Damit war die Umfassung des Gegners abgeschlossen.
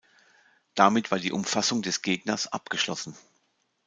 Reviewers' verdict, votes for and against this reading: accepted, 2, 0